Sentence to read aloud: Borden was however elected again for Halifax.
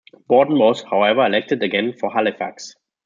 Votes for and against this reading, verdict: 2, 1, accepted